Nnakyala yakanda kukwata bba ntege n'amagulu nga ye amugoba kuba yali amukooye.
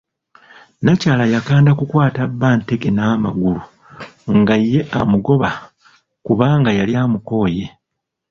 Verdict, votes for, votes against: rejected, 1, 2